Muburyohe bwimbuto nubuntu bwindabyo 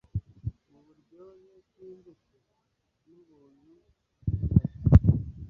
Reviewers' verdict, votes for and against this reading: rejected, 0, 2